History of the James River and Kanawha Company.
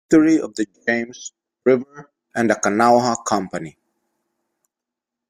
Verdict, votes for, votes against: rejected, 0, 2